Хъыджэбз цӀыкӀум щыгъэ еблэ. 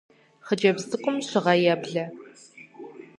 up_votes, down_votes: 4, 0